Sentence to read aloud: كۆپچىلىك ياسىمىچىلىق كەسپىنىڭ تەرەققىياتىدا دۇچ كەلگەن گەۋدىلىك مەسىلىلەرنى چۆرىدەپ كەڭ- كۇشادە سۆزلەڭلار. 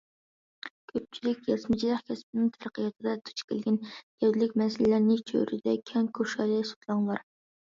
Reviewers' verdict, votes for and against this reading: rejected, 0, 2